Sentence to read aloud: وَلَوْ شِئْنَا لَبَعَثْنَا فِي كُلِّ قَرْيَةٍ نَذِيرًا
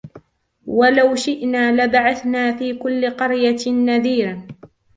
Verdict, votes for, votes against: rejected, 1, 2